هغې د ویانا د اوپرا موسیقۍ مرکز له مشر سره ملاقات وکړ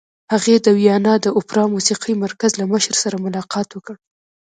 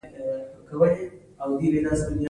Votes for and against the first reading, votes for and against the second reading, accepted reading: 2, 0, 1, 2, first